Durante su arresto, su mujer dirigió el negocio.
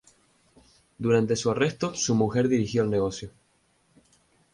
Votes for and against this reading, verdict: 2, 0, accepted